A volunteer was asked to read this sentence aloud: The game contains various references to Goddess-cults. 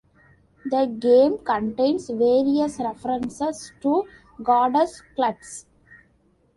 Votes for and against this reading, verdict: 2, 0, accepted